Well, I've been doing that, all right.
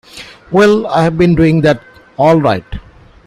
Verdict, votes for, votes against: accepted, 2, 0